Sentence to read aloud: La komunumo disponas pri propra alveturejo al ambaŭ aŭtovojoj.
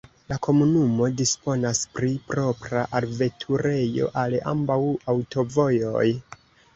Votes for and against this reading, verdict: 2, 0, accepted